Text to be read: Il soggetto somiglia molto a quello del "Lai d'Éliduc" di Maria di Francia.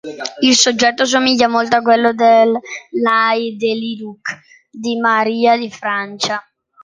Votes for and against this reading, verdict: 1, 2, rejected